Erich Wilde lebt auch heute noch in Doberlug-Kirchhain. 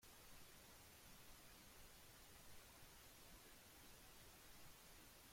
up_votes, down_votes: 0, 2